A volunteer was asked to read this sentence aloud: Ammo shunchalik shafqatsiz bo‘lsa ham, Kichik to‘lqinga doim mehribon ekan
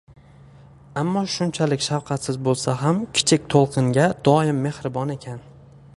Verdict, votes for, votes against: rejected, 1, 2